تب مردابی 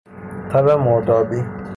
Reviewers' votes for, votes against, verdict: 0, 3, rejected